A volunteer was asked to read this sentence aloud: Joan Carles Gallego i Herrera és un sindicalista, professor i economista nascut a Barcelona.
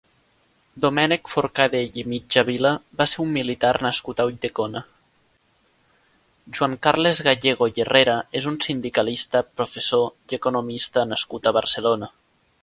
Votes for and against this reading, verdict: 1, 4, rejected